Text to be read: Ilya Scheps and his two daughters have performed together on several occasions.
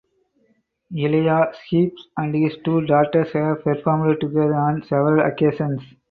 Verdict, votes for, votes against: rejected, 0, 4